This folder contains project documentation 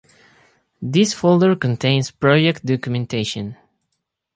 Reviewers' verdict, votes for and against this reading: accepted, 2, 0